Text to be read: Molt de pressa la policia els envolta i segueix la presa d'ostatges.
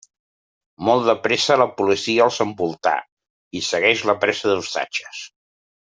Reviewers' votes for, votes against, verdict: 0, 2, rejected